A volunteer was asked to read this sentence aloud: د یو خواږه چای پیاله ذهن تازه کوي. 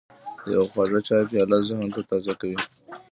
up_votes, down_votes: 1, 2